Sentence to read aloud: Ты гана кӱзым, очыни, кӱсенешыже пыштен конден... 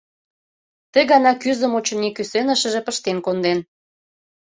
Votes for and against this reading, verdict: 1, 2, rejected